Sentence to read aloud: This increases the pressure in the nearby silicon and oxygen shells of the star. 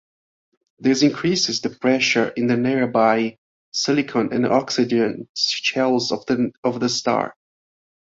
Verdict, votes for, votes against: rejected, 1, 2